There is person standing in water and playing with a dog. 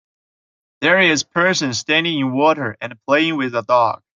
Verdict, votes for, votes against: accepted, 2, 0